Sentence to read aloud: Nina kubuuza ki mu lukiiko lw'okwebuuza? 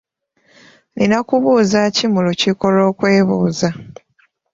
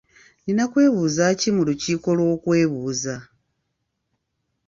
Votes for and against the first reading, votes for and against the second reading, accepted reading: 2, 0, 0, 2, first